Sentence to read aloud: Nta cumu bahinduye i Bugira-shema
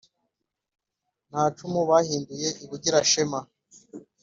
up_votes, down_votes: 4, 0